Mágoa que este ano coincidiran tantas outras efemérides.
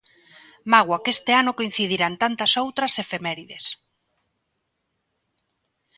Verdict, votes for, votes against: accepted, 2, 0